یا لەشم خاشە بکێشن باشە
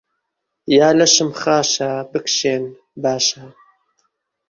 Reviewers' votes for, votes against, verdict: 1, 2, rejected